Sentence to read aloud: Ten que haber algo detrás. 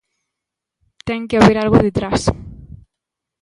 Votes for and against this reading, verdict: 2, 0, accepted